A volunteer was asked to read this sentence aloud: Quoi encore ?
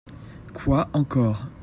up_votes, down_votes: 2, 0